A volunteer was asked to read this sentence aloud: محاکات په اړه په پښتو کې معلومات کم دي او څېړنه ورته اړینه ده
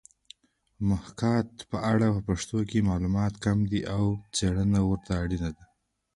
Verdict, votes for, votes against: rejected, 0, 2